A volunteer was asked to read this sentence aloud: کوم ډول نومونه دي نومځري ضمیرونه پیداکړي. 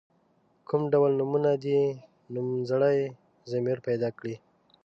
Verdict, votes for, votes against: rejected, 0, 2